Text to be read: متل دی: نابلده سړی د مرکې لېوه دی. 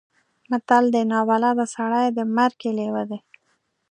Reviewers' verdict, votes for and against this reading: rejected, 1, 2